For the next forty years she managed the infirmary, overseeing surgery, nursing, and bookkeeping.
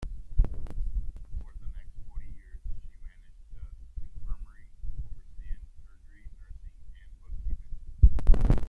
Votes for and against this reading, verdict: 0, 2, rejected